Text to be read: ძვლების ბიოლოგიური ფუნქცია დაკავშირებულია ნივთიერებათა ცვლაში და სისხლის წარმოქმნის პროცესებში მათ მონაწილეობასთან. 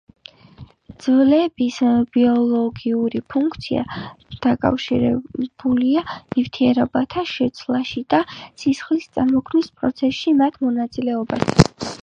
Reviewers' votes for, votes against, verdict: 0, 2, rejected